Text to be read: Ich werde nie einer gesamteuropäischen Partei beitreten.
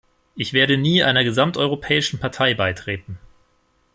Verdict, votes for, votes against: accepted, 2, 0